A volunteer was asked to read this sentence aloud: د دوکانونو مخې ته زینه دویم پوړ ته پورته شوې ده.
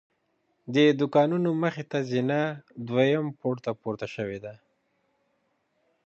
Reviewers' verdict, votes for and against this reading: accepted, 2, 0